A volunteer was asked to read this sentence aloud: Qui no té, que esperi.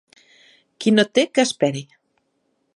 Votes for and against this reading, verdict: 2, 0, accepted